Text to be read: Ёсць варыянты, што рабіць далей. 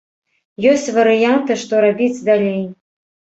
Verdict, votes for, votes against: accepted, 2, 0